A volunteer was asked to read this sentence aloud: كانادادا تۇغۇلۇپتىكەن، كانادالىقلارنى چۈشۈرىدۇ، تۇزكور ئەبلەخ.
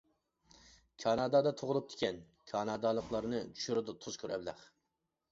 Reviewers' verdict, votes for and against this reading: accepted, 2, 1